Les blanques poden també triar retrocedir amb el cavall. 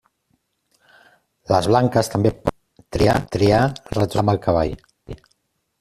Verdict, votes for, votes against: rejected, 0, 2